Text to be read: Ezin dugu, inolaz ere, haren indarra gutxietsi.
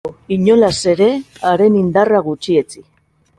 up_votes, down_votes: 0, 2